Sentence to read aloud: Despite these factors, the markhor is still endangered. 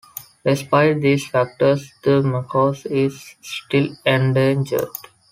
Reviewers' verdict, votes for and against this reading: accepted, 2, 1